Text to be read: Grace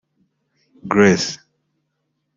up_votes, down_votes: 0, 2